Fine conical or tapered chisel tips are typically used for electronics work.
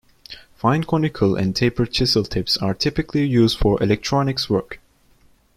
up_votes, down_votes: 1, 2